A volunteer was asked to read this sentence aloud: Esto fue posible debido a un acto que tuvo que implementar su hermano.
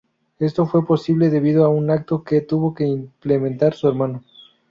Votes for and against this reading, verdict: 2, 0, accepted